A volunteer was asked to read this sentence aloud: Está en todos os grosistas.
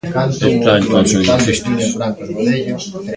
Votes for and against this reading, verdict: 0, 2, rejected